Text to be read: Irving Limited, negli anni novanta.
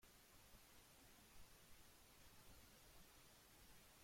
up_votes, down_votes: 0, 2